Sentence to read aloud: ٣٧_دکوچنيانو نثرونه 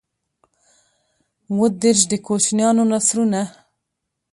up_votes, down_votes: 0, 2